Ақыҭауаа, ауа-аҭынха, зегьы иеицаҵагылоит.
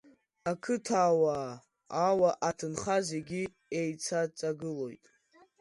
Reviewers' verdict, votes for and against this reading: accepted, 2, 0